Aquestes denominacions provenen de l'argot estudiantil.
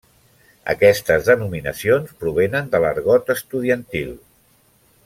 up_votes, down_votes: 1, 2